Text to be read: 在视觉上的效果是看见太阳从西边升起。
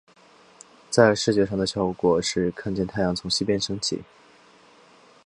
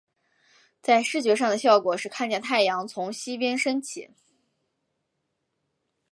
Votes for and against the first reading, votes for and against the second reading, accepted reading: 0, 3, 2, 0, second